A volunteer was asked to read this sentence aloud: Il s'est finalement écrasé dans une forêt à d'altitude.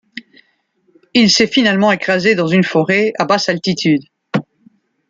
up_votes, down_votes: 0, 2